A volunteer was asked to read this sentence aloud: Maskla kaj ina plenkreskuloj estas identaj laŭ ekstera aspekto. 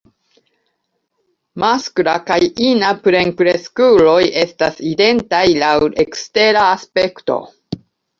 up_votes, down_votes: 2, 0